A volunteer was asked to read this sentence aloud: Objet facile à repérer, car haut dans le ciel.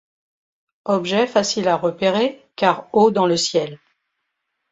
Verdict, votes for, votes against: accepted, 2, 0